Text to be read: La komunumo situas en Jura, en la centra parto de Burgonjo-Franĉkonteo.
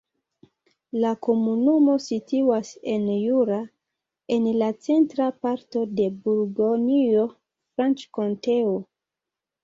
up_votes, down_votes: 0, 2